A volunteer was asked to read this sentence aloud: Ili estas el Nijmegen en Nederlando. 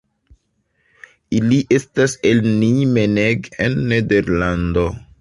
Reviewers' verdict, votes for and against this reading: rejected, 2, 3